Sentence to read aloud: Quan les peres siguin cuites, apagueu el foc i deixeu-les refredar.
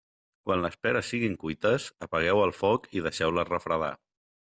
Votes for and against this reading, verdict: 2, 0, accepted